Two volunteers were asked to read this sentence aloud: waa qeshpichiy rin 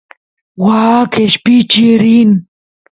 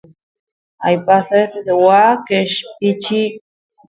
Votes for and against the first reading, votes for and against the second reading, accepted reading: 2, 0, 0, 2, first